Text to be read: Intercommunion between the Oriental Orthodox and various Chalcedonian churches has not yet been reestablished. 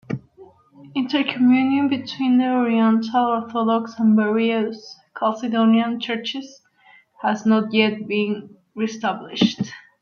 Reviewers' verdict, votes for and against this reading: rejected, 0, 2